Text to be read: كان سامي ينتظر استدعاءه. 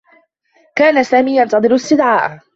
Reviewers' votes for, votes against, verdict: 2, 0, accepted